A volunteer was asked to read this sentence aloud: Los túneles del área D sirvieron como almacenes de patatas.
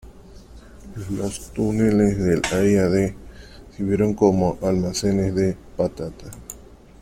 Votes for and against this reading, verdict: 0, 2, rejected